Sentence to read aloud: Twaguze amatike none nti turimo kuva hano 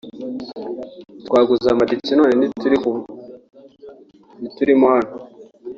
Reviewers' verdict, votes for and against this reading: rejected, 0, 2